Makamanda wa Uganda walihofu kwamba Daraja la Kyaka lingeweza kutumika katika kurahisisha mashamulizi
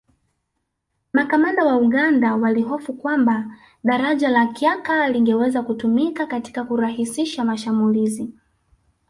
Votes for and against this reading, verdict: 2, 1, accepted